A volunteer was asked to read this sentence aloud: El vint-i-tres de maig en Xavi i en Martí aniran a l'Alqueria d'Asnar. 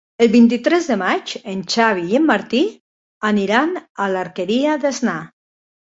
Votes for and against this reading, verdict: 2, 1, accepted